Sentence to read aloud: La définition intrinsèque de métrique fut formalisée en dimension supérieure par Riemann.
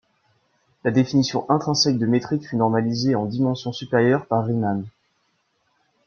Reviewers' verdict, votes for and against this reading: rejected, 0, 2